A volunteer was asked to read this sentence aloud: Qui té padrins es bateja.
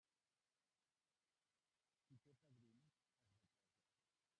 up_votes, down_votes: 0, 2